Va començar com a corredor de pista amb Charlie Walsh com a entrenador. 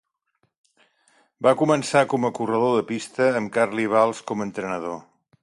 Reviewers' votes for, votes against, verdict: 1, 2, rejected